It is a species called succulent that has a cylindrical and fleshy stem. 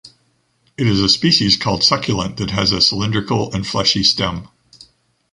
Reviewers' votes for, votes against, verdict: 2, 0, accepted